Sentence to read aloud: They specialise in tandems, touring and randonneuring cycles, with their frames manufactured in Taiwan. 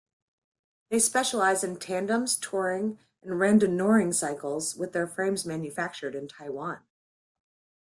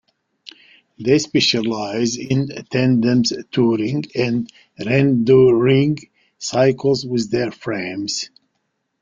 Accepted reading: first